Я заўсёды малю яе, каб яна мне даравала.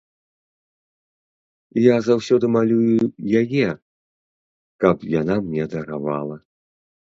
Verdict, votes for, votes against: rejected, 0, 2